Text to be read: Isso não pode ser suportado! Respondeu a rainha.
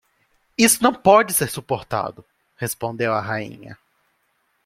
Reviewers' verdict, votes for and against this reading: accepted, 2, 0